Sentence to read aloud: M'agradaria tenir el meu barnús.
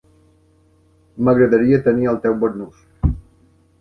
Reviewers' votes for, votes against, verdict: 0, 2, rejected